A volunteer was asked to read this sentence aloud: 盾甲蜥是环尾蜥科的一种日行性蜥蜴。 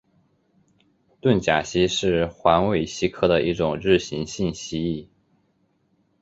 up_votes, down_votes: 6, 2